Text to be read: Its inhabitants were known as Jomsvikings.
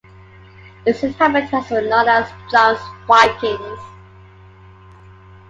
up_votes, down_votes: 2, 1